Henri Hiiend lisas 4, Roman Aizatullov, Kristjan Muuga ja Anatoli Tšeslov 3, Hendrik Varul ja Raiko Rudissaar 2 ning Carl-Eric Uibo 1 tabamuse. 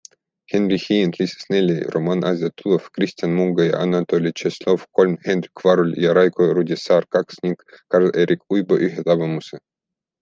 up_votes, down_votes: 0, 2